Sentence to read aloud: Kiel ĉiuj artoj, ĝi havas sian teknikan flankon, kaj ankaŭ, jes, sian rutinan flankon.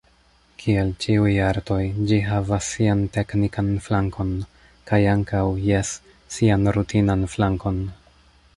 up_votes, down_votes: 0, 2